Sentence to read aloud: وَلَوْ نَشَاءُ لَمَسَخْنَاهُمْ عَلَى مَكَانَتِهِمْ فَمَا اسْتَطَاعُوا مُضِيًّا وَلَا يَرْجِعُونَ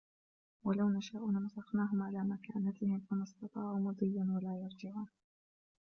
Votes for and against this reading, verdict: 1, 2, rejected